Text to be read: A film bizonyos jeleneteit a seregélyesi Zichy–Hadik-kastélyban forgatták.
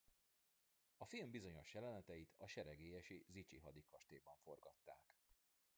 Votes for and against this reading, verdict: 0, 2, rejected